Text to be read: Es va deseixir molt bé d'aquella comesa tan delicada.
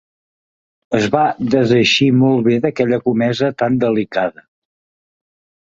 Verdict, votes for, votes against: accepted, 3, 0